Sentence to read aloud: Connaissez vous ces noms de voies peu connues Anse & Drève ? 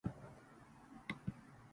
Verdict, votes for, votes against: rejected, 0, 2